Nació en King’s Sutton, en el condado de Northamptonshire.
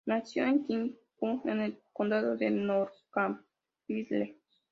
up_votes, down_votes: 0, 2